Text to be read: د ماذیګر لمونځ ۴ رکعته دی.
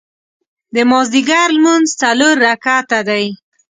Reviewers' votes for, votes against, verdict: 0, 2, rejected